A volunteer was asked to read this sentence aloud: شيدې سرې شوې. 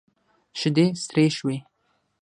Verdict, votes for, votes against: accepted, 9, 6